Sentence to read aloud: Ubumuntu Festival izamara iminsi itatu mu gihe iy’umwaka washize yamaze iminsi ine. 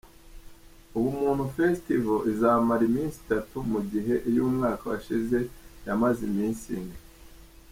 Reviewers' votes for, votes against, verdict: 2, 0, accepted